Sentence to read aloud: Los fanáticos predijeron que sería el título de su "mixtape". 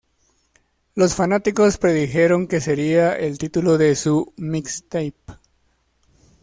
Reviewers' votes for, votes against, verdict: 2, 0, accepted